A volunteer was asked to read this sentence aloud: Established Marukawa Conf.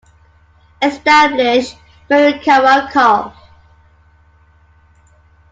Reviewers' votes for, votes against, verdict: 2, 0, accepted